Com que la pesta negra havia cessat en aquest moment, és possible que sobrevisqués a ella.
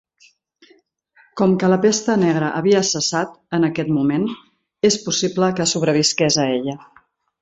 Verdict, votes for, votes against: rejected, 0, 2